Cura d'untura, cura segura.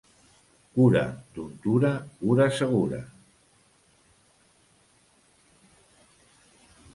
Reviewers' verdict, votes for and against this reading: accepted, 2, 0